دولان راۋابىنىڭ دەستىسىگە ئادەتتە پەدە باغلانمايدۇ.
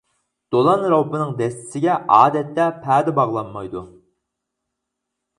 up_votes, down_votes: 2, 4